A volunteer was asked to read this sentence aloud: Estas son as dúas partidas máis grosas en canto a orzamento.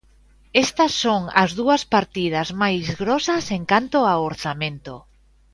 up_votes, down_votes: 2, 0